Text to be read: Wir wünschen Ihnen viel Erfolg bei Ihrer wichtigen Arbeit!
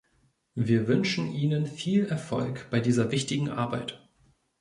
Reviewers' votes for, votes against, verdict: 0, 2, rejected